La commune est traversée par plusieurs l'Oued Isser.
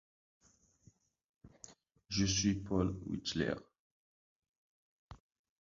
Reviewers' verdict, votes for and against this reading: rejected, 0, 2